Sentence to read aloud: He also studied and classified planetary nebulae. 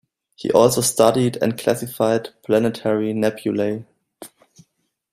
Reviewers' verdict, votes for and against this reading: accepted, 2, 0